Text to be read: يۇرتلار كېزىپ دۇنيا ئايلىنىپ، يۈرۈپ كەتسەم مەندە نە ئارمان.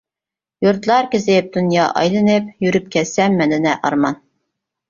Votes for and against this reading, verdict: 2, 0, accepted